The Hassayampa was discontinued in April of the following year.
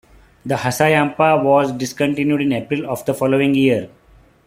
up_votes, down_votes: 1, 2